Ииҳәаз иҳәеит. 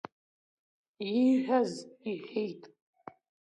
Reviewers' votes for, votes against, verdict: 2, 0, accepted